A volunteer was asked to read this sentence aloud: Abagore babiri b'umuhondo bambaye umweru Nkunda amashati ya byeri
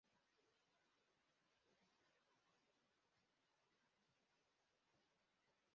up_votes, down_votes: 0, 2